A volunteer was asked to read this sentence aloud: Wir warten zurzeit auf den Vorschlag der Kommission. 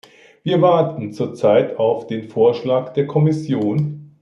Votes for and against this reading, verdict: 2, 0, accepted